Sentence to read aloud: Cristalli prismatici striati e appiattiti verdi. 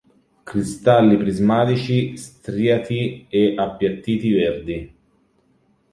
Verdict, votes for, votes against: rejected, 0, 2